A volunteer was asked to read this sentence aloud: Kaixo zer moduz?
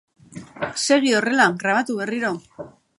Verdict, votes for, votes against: rejected, 0, 2